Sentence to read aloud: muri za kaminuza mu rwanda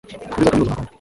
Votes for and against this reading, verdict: 1, 2, rejected